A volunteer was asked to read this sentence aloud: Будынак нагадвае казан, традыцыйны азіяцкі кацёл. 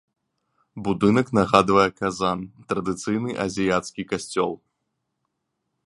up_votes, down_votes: 0, 2